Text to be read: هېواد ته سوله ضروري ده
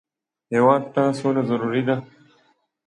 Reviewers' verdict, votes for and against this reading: accepted, 2, 0